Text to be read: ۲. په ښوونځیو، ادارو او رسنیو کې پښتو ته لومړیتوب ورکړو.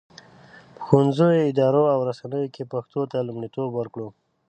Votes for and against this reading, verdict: 0, 2, rejected